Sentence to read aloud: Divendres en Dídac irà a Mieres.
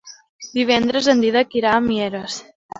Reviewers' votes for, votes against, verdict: 3, 0, accepted